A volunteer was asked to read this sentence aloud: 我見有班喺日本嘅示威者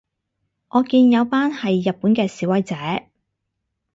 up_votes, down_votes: 2, 2